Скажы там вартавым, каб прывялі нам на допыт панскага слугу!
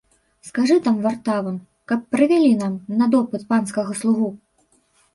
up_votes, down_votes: 0, 2